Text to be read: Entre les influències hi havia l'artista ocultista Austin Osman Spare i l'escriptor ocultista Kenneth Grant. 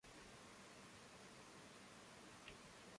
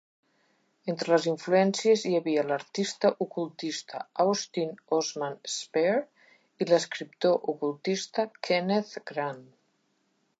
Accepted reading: second